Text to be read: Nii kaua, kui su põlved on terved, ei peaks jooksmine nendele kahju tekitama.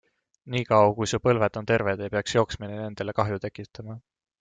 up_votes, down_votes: 2, 0